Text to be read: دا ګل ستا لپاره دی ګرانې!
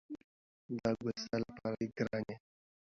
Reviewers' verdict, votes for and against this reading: accepted, 2, 1